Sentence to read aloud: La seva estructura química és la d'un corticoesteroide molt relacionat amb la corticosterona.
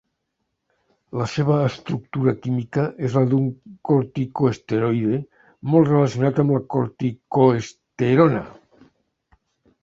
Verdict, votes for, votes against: rejected, 0, 2